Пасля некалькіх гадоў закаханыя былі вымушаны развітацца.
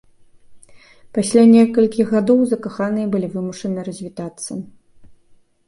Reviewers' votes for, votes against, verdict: 2, 0, accepted